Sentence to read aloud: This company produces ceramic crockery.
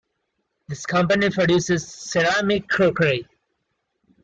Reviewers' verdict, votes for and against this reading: accepted, 2, 0